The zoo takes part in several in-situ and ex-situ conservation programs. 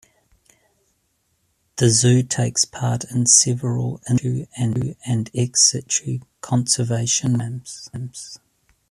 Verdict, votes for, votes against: rejected, 1, 2